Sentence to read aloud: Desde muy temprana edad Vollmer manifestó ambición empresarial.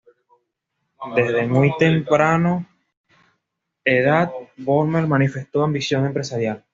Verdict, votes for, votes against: rejected, 1, 2